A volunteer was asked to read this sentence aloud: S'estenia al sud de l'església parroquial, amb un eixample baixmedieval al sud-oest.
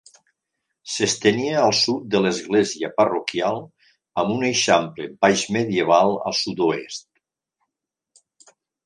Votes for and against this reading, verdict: 2, 0, accepted